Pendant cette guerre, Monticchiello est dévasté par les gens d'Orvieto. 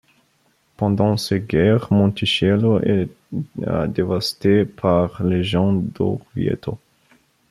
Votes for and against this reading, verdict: 1, 2, rejected